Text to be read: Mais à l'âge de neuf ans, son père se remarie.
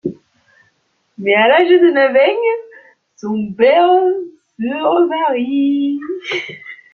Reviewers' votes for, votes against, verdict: 0, 2, rejected